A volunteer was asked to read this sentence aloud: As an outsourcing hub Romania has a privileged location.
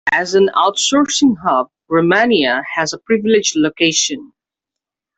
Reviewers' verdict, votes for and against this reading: accepted, 2, 0